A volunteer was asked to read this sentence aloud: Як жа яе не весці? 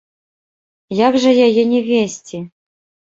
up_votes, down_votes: 1, 2